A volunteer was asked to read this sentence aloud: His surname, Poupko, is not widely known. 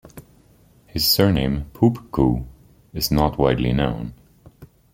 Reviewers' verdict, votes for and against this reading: accepted, 2, 0